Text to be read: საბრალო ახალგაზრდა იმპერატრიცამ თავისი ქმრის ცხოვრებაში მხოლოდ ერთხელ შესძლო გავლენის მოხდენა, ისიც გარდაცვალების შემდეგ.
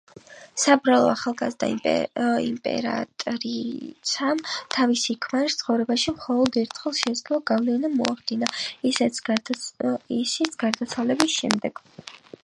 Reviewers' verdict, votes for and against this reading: rejected, 2, 6